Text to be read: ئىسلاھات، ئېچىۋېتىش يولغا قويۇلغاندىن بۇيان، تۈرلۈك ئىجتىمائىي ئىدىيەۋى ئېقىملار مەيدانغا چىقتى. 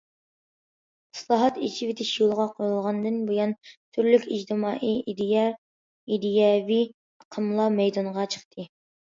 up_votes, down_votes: 0, 2